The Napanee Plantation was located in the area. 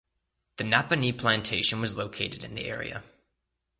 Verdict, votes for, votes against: accepted, 2, 0